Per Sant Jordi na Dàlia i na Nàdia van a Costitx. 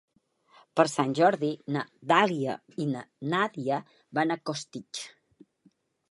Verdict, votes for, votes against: accepted, 3, 0